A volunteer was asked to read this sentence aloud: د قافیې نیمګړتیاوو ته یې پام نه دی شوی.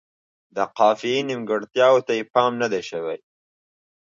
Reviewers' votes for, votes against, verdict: 2, 0, accepted